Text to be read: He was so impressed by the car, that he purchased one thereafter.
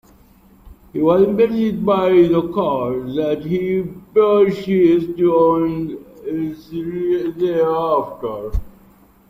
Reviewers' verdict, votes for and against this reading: rejected, 1, 2